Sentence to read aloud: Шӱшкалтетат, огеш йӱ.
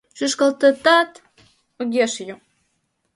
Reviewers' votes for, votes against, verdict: 1, 2, rejected